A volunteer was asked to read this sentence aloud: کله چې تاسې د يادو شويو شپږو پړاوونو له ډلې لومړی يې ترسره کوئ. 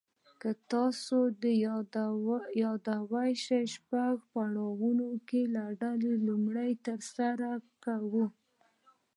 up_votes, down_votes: 1, 2